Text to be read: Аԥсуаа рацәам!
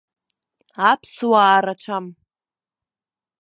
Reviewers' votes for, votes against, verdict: 2, 1, accepted